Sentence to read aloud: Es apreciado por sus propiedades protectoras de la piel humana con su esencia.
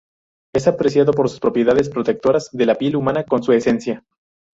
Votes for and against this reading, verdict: 2, 2, rejected